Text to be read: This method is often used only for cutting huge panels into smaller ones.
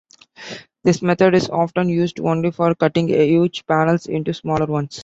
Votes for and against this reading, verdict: 2, 0, accepted